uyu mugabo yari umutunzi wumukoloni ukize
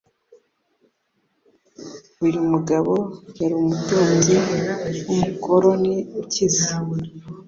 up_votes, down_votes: 3, 0